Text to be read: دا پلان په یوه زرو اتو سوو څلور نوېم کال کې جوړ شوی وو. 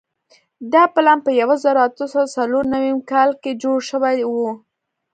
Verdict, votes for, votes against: accepted, 2, 0